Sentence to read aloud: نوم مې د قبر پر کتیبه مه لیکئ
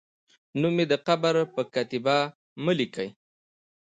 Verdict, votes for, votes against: accepted, 2, 0